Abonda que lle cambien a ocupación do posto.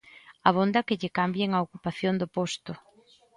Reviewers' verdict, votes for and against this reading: accepted, 2, 0